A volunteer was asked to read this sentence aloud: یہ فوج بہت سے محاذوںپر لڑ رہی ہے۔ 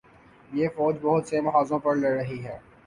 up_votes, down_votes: 4, 0